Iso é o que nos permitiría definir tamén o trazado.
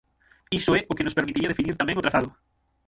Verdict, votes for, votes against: rejected, 0, 6